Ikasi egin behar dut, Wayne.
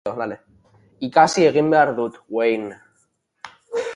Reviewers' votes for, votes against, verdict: 0, 2, rejected